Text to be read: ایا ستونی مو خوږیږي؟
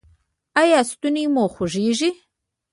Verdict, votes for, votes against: rejected, 1, 2